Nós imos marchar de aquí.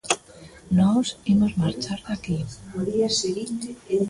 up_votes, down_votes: 1, 2